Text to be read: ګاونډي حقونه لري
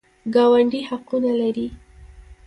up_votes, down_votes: 2, 1